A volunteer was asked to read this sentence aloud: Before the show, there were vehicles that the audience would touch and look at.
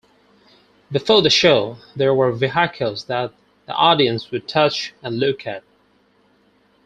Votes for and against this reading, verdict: 2, 4, rejected